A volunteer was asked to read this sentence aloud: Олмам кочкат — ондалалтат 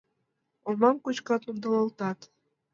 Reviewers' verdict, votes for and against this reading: accepted, 2, 0